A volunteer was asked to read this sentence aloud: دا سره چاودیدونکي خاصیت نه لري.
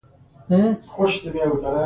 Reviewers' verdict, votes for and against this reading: rejected, 0, 2